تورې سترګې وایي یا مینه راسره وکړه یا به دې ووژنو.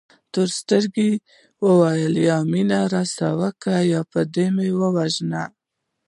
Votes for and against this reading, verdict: 0, 2, rejected